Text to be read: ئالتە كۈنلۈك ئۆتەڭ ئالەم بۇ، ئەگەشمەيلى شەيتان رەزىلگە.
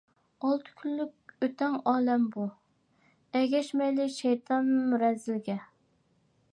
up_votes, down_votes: 2, 0